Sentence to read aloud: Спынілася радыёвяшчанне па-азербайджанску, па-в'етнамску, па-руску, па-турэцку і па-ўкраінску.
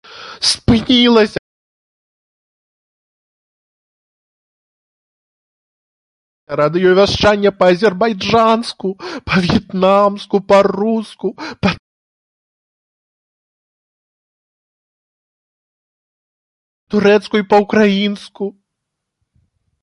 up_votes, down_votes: 0, 3